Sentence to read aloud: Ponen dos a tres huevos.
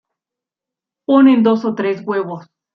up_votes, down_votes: 1, 2